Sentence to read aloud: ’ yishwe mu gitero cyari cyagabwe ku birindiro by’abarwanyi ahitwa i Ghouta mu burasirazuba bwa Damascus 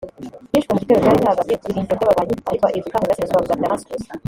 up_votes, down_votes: 1, 2